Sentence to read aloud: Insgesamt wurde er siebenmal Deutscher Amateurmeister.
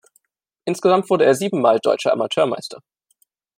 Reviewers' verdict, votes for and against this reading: accepted, 2, 0